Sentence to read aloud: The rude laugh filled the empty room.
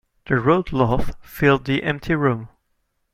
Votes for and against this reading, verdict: 1, 2, rejected